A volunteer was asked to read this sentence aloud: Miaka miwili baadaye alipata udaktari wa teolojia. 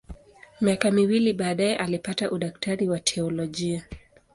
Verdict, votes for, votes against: accepted, 2, 0